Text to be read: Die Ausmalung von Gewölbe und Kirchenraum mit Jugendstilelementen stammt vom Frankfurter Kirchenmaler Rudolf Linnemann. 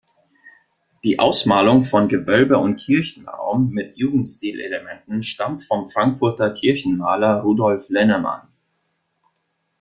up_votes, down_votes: 0, 2